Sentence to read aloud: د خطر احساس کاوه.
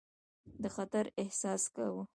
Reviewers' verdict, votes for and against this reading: accepted, 2, 1